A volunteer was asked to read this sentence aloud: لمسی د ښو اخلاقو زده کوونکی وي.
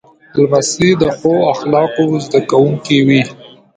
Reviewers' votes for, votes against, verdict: 2, 0, accepted